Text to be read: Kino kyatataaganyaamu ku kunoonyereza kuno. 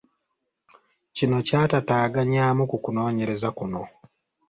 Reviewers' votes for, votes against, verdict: 2, 0, accepted